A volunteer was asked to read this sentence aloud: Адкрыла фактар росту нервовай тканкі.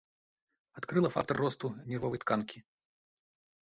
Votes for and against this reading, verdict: 2, 0, accepted